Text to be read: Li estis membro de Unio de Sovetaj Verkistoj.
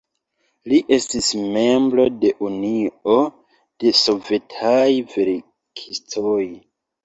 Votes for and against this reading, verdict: 1, 2, rejected